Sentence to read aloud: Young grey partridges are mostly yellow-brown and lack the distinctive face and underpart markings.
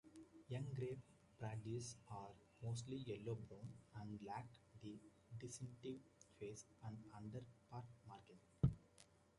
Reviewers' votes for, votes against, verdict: 0, 2, rejected